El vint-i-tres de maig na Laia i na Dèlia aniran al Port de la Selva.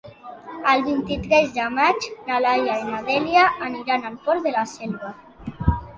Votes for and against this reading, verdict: 3, 0, accepted